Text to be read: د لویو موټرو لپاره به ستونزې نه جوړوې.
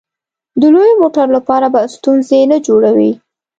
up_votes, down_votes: 3, 0